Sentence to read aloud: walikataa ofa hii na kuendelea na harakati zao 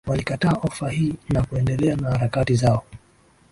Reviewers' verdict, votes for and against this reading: accepted, 2, 0